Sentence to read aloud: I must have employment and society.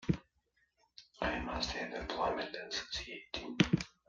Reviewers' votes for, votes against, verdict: 0, 2, rejected